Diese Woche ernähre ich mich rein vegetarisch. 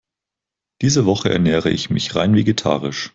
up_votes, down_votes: 6, 0